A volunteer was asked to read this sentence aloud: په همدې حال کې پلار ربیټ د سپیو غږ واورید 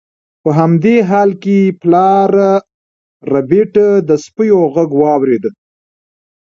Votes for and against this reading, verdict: 2, 0, accepted